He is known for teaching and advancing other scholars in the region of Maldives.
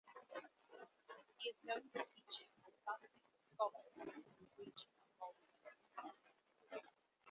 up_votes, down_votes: 0, 2